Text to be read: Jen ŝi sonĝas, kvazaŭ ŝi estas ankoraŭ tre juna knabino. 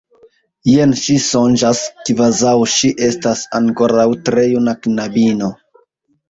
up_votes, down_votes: 2, 1